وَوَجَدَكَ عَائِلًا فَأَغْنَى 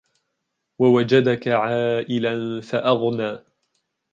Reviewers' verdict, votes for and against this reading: rejected, 1, 2